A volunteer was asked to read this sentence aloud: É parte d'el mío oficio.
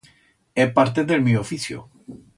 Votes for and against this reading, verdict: 2, 0, accepted